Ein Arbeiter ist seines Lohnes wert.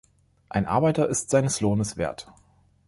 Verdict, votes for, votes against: accepted, 2, 0